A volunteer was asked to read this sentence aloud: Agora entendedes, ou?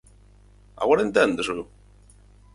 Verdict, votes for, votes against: rejected, 0, 4